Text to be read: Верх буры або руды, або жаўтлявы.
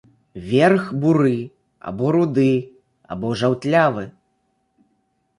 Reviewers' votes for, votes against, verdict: 0, 2, rejected